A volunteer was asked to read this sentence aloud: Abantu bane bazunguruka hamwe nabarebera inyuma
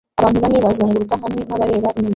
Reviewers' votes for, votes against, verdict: 0, 2, rejected